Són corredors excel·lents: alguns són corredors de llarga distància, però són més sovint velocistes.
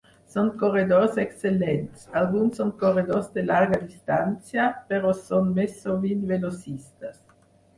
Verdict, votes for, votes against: accepted, 4, 2